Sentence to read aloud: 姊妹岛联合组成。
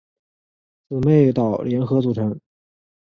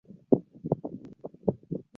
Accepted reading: first